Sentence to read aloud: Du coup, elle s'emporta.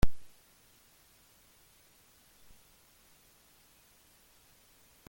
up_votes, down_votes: 1, 2